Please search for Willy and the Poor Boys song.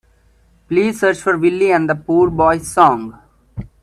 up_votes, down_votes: 2, 0